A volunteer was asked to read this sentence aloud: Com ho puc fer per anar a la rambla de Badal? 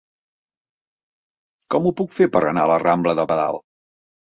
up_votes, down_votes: 3, 0